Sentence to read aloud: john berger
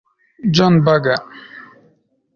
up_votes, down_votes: 1, 2